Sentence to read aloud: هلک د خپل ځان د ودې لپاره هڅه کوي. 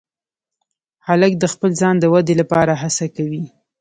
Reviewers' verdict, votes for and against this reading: accepted, 3, 0